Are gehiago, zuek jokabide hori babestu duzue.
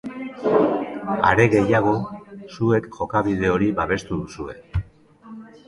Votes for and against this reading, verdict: 1, 2, rejected